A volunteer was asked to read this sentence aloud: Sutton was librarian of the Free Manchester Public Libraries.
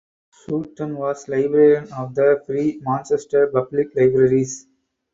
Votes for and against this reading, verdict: 4, 0, accepted